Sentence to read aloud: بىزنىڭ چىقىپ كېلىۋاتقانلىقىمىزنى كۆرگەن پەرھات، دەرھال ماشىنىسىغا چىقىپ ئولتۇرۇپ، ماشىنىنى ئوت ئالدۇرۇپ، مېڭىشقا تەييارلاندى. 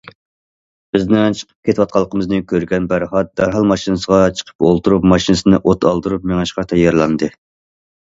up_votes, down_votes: 0, 2